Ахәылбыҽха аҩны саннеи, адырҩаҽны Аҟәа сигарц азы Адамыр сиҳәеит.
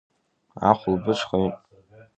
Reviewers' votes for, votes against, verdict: 0, 2, rejected